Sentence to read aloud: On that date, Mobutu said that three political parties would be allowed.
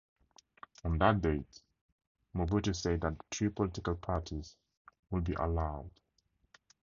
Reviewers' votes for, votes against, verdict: 4, 0, accepted